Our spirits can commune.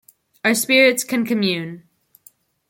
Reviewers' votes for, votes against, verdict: 2, 1, accepted